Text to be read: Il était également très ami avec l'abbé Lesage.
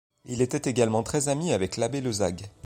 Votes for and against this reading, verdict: 1, 2, rejected